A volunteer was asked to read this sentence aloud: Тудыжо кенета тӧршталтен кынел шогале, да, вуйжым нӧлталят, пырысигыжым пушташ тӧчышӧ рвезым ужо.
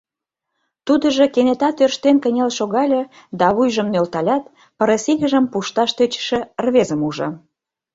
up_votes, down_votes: 0, 2